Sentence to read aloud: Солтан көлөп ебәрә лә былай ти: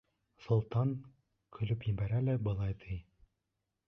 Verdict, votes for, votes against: accepted, 2, 0